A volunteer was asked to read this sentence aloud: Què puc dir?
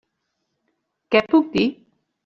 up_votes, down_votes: 3, 0